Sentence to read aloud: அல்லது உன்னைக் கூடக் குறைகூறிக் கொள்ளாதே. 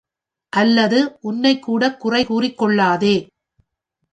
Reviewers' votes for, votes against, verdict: 2, 0, accepted